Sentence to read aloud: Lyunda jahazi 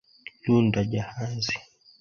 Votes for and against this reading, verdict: 2, 0, accepted